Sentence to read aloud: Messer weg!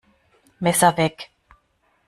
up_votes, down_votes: 2, 0